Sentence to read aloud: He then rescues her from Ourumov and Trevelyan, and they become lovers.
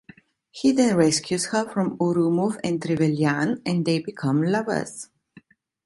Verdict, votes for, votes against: accepted, 2, 0